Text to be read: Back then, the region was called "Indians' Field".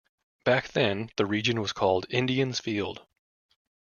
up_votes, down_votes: 2, 0